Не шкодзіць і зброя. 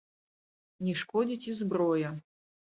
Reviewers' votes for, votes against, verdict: 1, 2, rejected